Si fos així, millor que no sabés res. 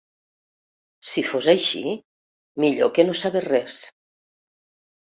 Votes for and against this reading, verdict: 2, 0, accepted